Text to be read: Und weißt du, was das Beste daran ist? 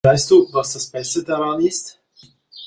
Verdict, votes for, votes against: rejected, 1, 2